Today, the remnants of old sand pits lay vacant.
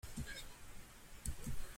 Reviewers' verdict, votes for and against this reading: rejected, 0, 2